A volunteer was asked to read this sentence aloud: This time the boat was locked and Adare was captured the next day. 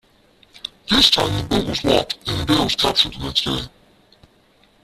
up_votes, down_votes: 0, 2